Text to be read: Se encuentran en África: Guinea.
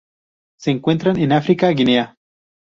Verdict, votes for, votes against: rejected, 0, 2